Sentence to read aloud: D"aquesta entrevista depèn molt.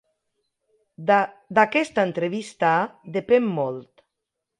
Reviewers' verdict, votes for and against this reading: rejected, 0, 2